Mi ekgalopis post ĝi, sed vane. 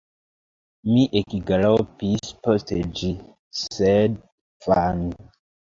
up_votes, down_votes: 1, 2